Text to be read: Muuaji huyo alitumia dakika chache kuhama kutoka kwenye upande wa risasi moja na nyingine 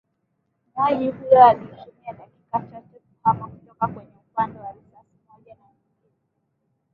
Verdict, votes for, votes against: rejected, 0, 2